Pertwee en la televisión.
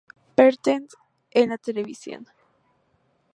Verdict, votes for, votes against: rejected, 0, 2